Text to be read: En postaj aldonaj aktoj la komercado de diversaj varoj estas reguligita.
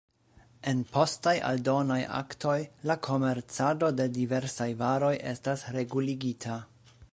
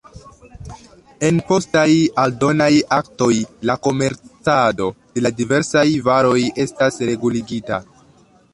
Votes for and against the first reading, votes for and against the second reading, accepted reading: 2, 0, 0, 2, first